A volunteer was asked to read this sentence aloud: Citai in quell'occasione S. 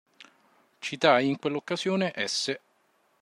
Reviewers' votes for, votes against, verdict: 2, 0, accepted